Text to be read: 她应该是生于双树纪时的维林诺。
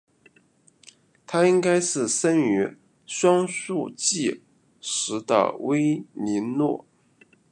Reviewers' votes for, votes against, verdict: 1, 2, rejected